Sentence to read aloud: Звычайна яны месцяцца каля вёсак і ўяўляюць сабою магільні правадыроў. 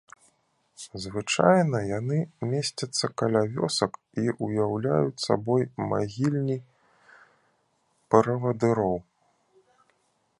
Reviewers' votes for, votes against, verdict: 0, 2, rejected